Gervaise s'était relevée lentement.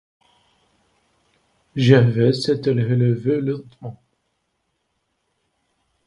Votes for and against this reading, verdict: 1, 2, rejected